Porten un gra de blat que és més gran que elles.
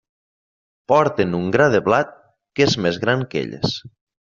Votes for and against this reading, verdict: 3, 0, accepted